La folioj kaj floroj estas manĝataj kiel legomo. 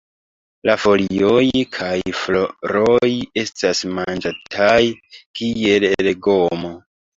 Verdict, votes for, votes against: rejected, 0, 2